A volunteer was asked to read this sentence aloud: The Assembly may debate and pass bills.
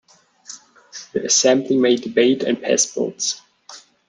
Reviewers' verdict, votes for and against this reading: accepted, 2, 0